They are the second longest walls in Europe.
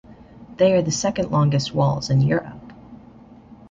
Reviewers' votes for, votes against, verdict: 0, 2, rejected